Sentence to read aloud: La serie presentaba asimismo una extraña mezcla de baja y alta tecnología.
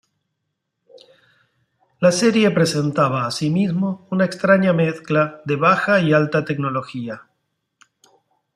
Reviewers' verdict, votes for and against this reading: accepted, 2, 0